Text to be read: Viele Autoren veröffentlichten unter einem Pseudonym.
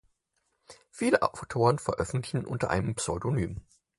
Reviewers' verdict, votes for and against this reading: rejected, 0, 4